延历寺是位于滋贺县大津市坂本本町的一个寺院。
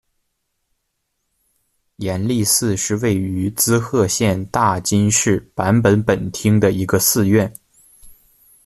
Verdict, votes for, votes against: rejected, 1, 2